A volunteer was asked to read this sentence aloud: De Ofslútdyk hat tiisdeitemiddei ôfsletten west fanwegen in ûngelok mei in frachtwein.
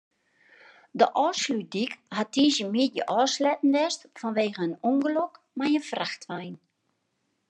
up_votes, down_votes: 0, 2